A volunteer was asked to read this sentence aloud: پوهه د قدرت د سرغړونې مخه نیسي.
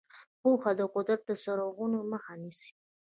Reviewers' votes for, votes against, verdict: 2, 1, accepted